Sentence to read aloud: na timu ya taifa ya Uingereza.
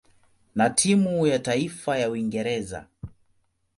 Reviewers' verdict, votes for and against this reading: accepted, 2, 0